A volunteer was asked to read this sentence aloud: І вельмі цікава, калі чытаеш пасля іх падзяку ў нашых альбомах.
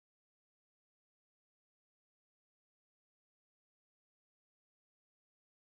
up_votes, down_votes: 0, 2